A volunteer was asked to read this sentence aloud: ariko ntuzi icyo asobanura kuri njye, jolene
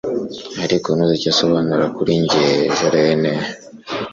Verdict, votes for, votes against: accepted, 2, 0